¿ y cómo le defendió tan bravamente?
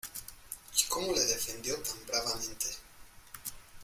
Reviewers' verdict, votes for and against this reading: accepted, 2, 1